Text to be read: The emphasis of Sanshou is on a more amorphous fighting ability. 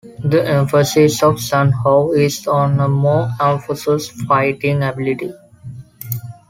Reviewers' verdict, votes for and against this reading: rejected, 1, 2